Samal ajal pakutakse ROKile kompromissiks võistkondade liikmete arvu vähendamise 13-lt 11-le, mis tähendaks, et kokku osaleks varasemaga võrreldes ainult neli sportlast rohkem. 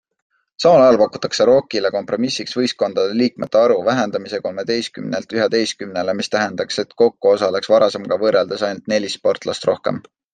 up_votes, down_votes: 0, 2